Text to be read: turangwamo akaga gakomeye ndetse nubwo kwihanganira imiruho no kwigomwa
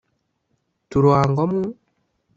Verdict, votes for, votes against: rejected, 1, 2